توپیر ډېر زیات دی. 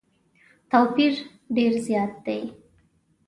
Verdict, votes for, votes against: accepted, 2, 0